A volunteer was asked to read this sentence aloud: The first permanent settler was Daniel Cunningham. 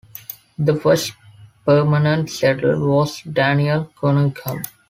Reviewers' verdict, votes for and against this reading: accepted, 2, 0